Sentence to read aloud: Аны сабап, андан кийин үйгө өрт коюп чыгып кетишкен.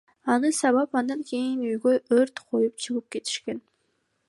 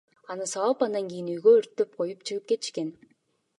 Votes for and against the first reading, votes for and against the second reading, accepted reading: 2, 0, 1, 2, first